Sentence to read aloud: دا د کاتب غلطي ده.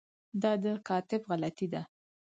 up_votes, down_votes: 4, 0